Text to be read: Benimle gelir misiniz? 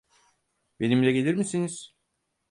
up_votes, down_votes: 4, 0